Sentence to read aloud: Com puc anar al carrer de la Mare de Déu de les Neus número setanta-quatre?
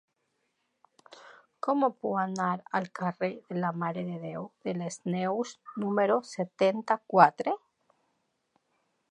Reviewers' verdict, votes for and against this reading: rejected, 1, 2